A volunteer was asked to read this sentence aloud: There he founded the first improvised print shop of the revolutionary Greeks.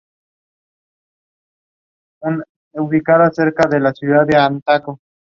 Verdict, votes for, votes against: rejected, 0, 2